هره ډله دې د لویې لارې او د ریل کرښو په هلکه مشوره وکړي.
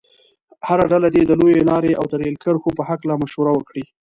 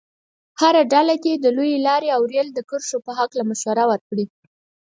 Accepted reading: first